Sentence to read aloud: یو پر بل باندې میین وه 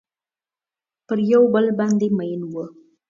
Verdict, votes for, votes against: accepted, 2, 0